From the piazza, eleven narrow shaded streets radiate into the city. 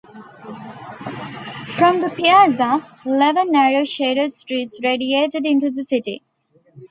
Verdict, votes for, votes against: rejected, 1, 2